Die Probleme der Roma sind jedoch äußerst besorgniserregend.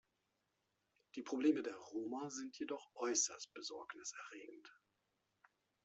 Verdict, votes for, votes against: accepted, 2, 0